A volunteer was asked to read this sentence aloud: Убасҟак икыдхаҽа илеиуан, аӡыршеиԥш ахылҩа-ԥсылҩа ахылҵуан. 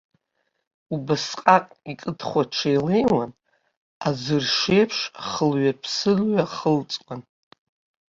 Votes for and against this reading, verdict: 0, 2, rejected